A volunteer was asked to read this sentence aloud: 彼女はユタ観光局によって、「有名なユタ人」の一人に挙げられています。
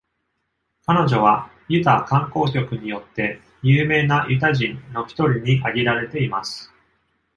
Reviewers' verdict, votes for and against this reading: accepted, 2, 0